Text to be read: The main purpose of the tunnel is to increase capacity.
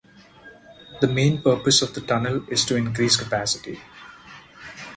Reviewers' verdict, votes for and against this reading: accepted, 4, 0